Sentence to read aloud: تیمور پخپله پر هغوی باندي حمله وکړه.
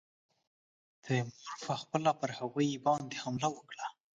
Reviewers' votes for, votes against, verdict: 2, 0, accepted